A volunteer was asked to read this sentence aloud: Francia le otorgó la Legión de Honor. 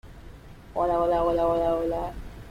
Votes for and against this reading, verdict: 0, 2, rejected